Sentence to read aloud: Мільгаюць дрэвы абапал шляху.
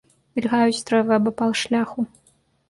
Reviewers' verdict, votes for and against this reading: rejected, 0, 2